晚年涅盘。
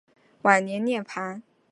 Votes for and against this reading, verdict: 2, 0, accepted